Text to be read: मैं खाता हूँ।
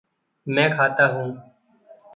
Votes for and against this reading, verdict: 2, 0, accepted